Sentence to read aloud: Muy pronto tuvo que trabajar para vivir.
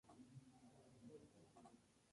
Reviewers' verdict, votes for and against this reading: rejected, 0, 2